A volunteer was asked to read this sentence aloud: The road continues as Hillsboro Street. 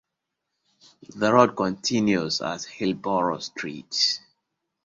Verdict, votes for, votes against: accepted, 2, 1